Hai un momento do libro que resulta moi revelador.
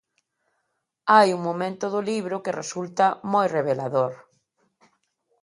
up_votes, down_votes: 2, 0